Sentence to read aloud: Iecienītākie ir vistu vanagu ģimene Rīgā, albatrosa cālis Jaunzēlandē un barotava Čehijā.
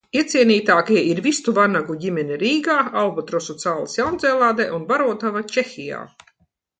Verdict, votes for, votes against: accepted, 2, 1